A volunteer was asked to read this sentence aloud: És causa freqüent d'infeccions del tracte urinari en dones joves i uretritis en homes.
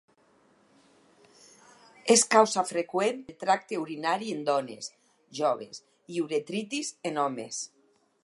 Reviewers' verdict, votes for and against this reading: rejected, 0, 4